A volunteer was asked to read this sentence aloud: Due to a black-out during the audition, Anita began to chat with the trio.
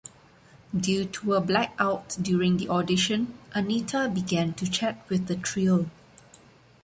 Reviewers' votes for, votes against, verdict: 2, 0, accepted